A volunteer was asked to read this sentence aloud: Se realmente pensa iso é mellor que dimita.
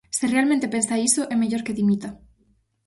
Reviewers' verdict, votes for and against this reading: accepted, 4, 0